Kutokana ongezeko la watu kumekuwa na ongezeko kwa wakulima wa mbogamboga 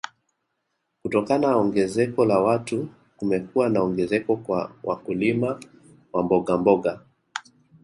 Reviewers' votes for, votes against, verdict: 1, 2, rejected